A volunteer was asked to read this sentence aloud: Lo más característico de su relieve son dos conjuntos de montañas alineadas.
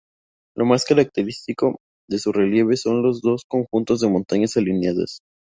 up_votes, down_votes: 0, 2